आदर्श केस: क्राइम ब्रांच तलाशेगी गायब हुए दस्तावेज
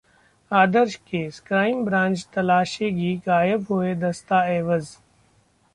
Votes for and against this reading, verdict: 1, 2, rejected